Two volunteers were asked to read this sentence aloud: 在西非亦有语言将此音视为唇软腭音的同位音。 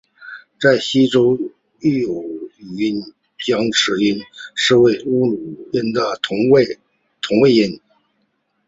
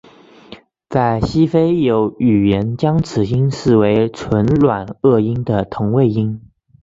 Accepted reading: second